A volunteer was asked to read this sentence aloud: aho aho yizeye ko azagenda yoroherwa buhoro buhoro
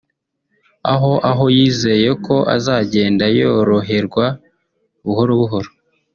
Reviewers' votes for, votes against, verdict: 0, 2, rejected